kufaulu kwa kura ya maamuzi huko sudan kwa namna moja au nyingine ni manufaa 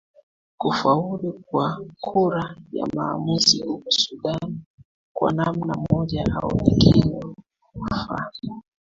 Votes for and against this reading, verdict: 2, 0, accepted